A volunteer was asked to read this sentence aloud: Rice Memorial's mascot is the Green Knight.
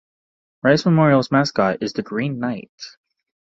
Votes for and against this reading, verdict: 2, 0, accepted